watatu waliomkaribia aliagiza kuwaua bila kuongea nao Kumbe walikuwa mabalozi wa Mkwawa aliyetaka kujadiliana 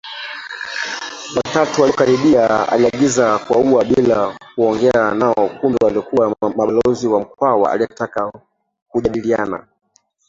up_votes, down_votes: 1, 2